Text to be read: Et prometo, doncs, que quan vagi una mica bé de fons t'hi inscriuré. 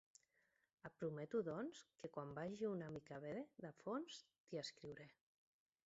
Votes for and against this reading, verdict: 1, 2, rejected